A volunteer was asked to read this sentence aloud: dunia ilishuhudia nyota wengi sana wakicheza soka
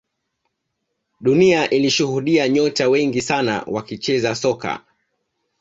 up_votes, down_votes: 2, 0